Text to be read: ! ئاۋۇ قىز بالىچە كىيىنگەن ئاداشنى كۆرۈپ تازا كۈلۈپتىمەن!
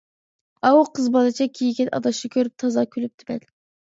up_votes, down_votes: 0, 2